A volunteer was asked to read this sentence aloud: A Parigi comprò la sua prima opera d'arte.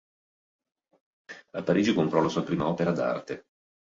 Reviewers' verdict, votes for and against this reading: accepted, 3, 0